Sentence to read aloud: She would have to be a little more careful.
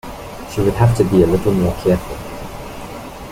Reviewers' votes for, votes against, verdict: 2, 1, accepted